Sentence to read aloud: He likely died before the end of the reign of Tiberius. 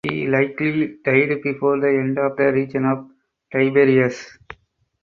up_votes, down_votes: 2, 4